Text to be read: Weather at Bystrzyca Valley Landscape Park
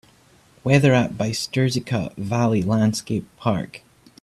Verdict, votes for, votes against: accepted, 2, 0